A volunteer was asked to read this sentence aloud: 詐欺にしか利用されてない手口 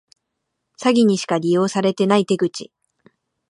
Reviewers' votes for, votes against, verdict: 2, 1, accepted